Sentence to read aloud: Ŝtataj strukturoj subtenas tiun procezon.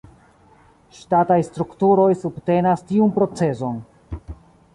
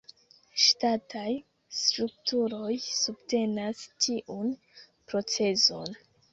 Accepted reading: second